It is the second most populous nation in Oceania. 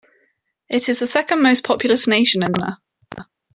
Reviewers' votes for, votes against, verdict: 2, 1, accepted